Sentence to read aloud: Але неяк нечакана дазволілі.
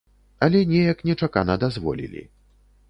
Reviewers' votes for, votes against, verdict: 3, 0, accepted